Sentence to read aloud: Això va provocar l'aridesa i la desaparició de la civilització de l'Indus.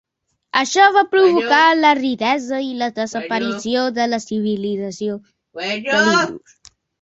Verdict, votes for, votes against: rejected, 0, 2